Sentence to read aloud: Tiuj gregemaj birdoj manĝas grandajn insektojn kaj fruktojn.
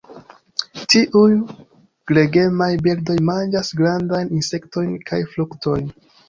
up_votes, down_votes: 2, 0